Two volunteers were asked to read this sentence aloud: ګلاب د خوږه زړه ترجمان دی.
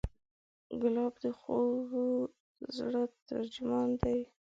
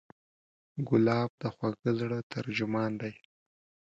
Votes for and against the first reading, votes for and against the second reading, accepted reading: 1, 2, 2, 0, second